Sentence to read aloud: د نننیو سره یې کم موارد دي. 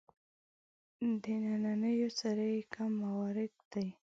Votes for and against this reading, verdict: 1, 2, rejected